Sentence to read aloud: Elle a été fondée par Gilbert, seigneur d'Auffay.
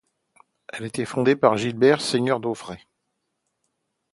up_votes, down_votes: 0, 2